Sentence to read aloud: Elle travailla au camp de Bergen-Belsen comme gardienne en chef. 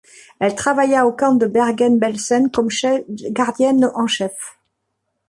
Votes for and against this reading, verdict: 0, 2, rejected